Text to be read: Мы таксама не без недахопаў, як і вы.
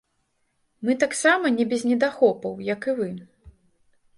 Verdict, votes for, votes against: rejected, 2, 3